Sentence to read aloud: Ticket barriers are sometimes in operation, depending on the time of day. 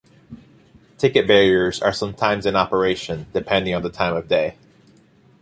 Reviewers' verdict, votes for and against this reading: accepted, 2, 0